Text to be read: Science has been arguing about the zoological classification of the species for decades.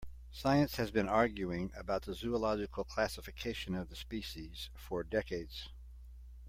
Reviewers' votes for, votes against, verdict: 2, 0, accepted